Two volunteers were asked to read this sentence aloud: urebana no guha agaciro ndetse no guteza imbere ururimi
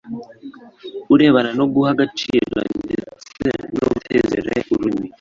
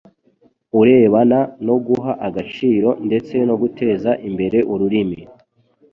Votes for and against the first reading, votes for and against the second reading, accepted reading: 1, 2, 2, 0, second